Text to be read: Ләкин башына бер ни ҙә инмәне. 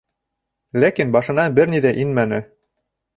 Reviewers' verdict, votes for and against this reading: accepted, 3, 0